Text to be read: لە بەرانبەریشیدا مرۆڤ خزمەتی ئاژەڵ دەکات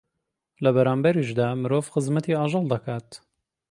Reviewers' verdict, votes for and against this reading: accepted, 2, 0